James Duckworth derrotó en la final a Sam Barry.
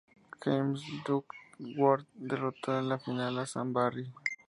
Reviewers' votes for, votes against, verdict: 0, 2, rejected